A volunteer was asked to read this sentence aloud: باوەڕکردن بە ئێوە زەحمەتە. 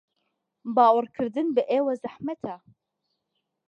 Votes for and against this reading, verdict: 2, 0, accepted